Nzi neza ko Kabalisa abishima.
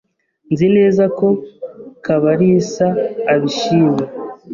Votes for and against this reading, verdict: 2, 0, accepted